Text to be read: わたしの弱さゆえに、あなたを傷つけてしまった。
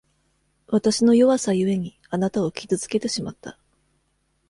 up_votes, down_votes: 2, 0